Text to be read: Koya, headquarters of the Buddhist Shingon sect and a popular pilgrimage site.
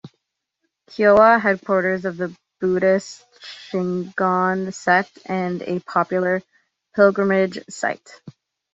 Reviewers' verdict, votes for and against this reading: accepted, 2, 0